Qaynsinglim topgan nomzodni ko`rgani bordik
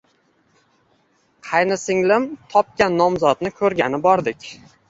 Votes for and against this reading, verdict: 2, 0, accepted